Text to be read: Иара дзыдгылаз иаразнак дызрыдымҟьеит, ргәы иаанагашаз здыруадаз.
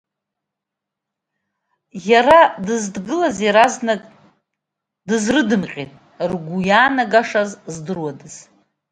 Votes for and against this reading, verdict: 0, 2, rejected